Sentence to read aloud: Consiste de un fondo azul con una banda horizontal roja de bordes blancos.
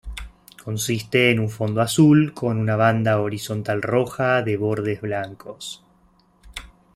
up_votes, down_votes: 1, 2